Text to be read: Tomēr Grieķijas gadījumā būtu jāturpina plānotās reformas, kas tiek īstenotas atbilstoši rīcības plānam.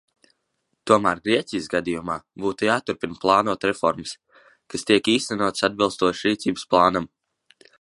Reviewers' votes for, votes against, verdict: 1, 2, rejected